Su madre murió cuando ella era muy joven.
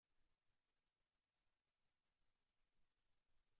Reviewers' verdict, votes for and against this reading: rejected, 0, 2